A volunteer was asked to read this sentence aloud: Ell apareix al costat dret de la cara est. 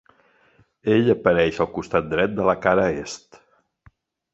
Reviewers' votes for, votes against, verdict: 4, 0, accepted